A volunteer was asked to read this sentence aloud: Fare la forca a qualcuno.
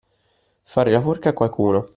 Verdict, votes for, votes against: accepted, 2, 0